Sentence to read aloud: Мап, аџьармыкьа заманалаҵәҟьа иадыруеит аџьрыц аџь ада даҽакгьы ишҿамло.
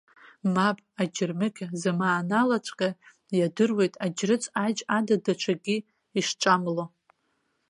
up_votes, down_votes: 1, 2